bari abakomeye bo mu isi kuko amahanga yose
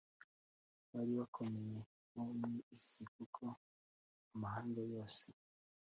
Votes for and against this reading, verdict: 2, 0, accepted